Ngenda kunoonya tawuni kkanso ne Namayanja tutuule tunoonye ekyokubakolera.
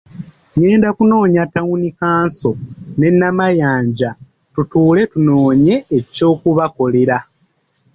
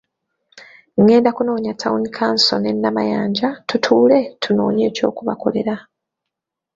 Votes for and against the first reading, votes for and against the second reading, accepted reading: 2, 0, 1, 2, first